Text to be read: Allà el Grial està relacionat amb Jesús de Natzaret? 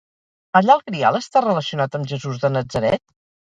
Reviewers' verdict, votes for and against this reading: rejected, 2, 2